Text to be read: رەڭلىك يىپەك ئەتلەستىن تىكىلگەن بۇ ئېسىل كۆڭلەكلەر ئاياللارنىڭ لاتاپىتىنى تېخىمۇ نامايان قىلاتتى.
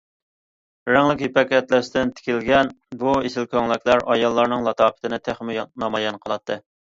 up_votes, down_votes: 2, 0